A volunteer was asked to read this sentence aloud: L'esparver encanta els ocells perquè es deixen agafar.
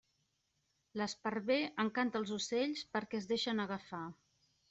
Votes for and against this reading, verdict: 3, 0, accepted